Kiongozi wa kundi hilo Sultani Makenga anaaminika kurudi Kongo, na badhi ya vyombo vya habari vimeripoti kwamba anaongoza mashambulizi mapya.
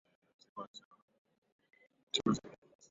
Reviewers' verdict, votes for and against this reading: rejected, 0, 2